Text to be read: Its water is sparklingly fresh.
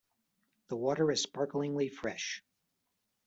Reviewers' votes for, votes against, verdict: 1, 2, rejected